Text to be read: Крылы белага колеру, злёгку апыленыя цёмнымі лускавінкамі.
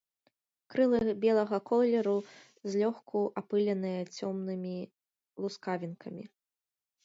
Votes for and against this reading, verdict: 2, 0, accepted